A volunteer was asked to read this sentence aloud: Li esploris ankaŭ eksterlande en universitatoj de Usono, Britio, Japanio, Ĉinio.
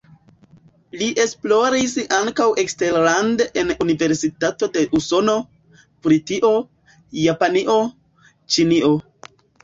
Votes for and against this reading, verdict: 0, 2, rejected